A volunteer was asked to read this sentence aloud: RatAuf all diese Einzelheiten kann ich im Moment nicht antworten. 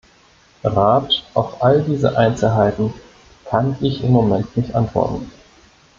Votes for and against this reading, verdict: 1, 2, rejected